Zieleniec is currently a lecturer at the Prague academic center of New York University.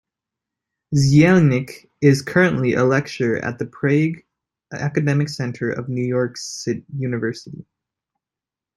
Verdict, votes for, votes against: rejected, 0, 2